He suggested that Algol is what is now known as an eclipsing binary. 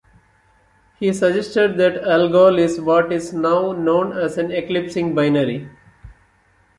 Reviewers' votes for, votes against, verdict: 1, 2, rejected